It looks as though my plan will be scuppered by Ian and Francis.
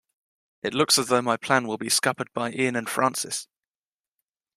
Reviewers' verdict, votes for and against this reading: accepted, 2, 0